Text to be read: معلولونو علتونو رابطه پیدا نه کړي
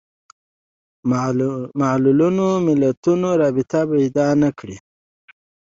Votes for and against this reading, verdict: 2, 1, accepted